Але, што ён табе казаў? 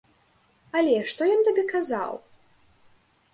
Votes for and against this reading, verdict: 2, 0, accepted